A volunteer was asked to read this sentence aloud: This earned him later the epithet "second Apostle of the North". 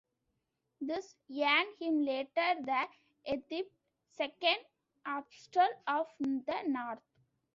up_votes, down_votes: 0, 2